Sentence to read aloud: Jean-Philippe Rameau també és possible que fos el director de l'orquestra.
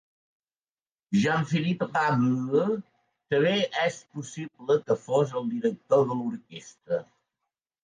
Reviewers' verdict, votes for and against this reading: rejected, 0, 2